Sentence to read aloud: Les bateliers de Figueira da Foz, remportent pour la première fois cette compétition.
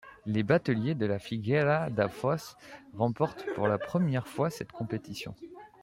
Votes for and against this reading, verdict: 1, 2, rejected